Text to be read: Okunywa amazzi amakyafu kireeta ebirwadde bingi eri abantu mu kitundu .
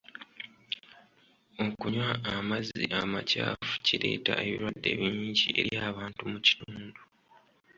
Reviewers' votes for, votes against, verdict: 2, 0, accepted